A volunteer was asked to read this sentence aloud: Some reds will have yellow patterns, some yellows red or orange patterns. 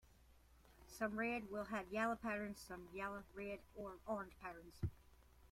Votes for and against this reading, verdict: 2, 1, accepted